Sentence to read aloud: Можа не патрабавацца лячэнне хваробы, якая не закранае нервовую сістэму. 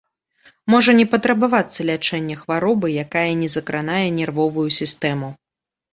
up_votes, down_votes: 2, 0